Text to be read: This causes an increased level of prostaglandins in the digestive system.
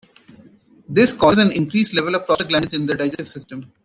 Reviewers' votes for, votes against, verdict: 0, 2, rejected